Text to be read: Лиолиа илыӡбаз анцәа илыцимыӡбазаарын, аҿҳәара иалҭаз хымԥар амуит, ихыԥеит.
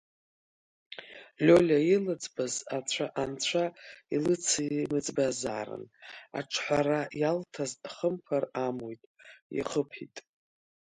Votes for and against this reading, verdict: 1, 2, rejected